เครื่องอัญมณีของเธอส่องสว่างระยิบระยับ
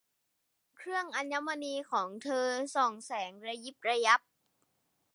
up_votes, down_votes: 0, 2